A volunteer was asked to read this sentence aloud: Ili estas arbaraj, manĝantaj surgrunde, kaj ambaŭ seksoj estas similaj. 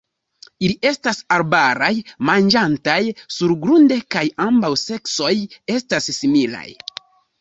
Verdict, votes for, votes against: accepted, 2, 1